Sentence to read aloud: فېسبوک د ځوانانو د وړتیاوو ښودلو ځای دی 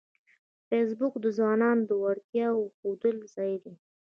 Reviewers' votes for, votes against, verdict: 1, 2, rejected